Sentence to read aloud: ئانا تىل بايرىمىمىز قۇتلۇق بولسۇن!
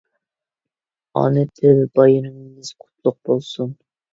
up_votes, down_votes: 2, 1